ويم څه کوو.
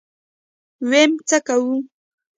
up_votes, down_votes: 2, 1